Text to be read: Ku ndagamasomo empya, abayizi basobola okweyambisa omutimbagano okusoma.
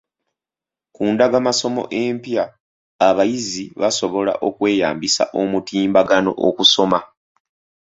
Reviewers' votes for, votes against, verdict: 2, 0, accepted